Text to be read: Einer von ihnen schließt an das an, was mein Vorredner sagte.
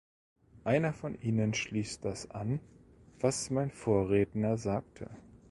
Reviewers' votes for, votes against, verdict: 0, 2, rejected